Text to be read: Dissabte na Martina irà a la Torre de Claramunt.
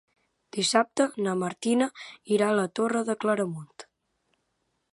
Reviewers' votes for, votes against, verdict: 2, 0, accepted